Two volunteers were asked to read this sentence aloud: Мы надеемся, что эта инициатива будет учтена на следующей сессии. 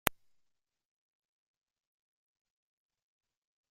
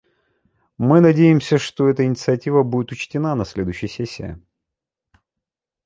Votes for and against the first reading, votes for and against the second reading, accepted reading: 0, 2, 2, 0, second